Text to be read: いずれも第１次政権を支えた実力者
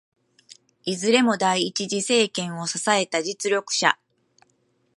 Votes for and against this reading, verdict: 0, 2, rejected